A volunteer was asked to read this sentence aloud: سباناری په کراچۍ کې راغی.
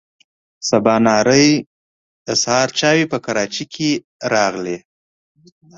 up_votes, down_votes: 0, 2